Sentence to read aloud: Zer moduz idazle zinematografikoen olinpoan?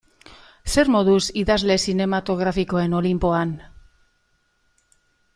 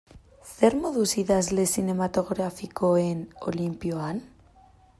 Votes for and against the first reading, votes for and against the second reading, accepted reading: 2, 0, 0, 2, first